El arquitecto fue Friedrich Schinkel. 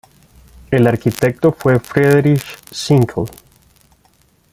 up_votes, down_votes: 1, 2